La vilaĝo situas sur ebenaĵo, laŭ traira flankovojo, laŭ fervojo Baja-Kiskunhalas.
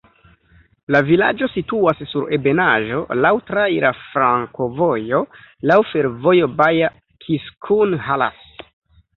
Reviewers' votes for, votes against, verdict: 2, 1, accepted